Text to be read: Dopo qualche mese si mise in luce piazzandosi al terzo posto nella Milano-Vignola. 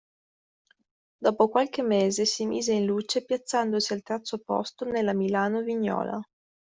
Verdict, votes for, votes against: accepted, 2, 1